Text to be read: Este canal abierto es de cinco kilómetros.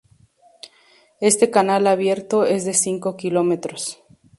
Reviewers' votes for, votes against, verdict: 2, 0, accepted